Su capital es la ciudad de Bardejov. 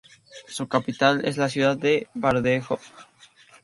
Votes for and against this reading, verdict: 2, 0, accepted